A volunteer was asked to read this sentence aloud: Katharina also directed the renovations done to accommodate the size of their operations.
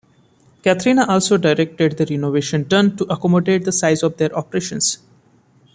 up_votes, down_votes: 1, 2